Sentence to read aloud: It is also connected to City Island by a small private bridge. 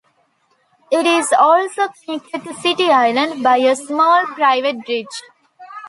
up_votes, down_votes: 2, 0